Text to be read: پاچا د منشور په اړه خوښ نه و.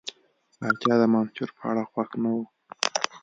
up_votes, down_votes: 1, 2